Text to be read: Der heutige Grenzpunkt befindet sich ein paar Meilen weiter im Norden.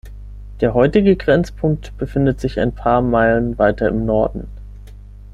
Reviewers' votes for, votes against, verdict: 6, 0, accepted